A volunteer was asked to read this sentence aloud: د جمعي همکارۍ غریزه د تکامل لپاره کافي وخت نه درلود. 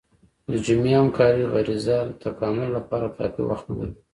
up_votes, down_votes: 2, 0